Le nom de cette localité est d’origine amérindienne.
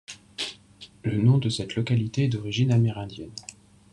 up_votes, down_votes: 4, 2